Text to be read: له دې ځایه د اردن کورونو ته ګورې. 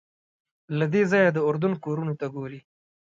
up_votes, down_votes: 2, 0